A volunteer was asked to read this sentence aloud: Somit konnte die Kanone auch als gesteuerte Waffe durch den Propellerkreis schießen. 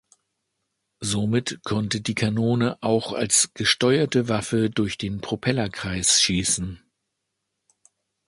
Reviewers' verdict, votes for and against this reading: accepted, 2, 0